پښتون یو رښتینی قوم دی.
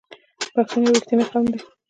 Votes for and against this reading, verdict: 1, 2, rejected